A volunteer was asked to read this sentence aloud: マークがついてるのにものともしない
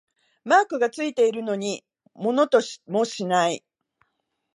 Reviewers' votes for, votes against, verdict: 1, 2, rejected